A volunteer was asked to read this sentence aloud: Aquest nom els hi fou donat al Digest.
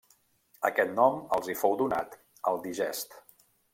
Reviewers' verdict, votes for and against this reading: rejected, 1, 2